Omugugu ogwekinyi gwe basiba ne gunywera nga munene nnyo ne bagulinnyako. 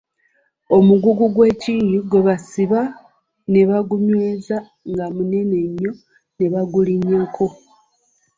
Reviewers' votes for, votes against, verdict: 0, 2, rejected